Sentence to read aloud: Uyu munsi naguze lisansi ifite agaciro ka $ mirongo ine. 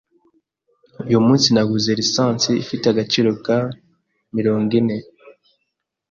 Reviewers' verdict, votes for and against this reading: rejected, 1, 2